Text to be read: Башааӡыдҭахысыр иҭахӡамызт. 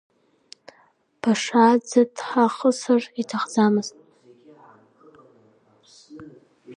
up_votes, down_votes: 1, 2